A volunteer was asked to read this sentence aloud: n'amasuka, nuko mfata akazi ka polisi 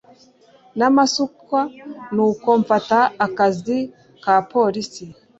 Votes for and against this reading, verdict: 0, 2, rejected